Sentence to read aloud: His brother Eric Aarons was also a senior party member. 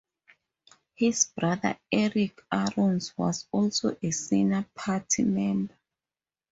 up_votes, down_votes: 2, 2